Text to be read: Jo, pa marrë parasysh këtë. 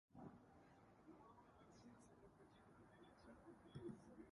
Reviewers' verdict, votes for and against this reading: rejected, 0, 2